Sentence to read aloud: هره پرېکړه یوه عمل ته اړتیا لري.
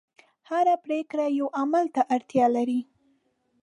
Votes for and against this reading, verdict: 2, 0, accepted